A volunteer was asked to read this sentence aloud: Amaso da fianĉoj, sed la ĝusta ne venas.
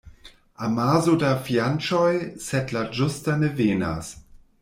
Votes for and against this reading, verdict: 1, 2, rejected